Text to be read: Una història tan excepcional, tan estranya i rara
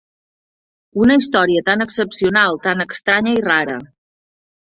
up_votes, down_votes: 1, 2